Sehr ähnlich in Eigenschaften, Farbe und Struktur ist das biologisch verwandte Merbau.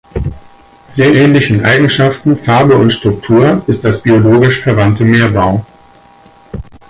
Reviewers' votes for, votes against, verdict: 2, 4, rejected